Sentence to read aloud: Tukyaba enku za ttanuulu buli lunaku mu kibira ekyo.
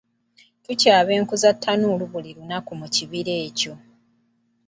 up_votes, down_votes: 3, 0